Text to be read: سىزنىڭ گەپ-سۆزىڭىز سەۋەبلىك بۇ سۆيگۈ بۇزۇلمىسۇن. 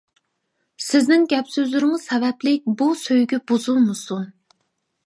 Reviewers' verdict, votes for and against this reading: rejected, 0, 2